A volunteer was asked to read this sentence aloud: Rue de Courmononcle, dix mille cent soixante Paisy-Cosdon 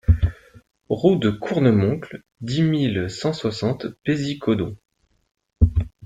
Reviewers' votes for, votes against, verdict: 1, 2, rejected